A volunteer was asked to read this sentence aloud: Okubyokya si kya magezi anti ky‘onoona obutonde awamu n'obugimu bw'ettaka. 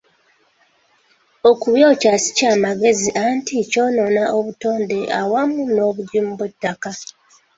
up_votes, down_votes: 1, 2